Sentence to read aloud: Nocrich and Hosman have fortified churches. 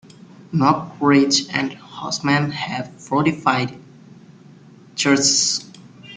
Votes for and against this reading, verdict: 0, 2, rejected